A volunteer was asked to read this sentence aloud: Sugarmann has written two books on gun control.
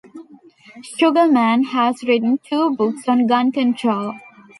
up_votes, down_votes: 2, 0